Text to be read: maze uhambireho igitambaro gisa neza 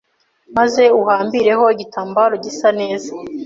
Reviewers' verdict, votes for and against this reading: accepted, 2, 0